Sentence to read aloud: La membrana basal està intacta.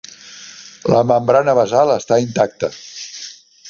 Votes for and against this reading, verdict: 3, 0, accepted